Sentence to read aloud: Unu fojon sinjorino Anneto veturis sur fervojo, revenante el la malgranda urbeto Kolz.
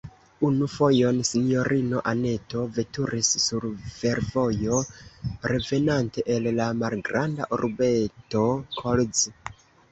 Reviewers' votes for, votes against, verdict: 2, 0, accepted